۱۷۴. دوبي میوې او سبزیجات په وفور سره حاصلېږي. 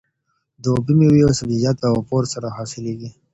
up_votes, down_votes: 0, 2